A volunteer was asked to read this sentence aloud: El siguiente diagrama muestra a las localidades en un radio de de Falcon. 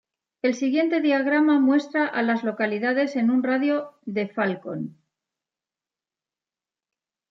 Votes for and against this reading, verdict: 1, 2, rejected